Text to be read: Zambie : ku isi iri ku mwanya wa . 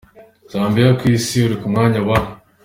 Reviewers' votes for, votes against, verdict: 2, 1, accepted